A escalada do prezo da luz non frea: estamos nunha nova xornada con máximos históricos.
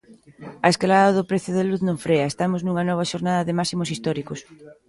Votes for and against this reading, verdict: 1, 2, rejected